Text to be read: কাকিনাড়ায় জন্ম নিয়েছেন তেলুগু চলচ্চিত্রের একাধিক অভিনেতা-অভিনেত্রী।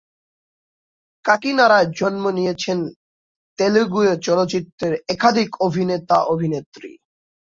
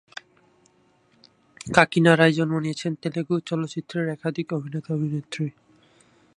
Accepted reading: second